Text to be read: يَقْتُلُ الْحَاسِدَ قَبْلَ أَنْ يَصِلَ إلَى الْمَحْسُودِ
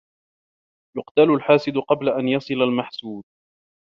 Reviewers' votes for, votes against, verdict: 0, 2, rejected